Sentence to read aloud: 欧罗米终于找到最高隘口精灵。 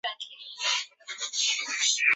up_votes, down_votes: 0, 2